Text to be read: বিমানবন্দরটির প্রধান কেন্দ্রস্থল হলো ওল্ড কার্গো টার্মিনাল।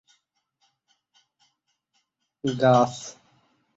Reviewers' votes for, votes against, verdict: 0, 5, rejected